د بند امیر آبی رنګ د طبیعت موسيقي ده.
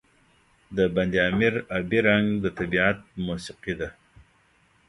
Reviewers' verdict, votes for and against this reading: accepted, 2, 0